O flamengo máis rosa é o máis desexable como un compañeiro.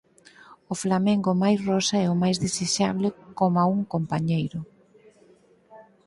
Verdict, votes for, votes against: rejected, 0, 4